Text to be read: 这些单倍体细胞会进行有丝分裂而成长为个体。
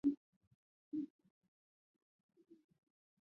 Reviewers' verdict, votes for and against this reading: rejected, 0, 2